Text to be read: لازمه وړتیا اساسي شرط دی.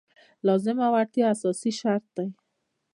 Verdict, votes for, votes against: accepted, 2, 0